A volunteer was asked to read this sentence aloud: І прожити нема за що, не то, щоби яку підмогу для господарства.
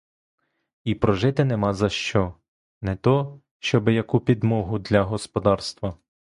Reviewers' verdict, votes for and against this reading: accepted, 2, 0